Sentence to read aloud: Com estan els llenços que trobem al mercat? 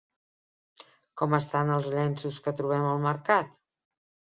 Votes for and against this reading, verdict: 3, 0, accepted